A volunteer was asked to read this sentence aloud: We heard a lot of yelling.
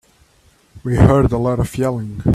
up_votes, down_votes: 1, 2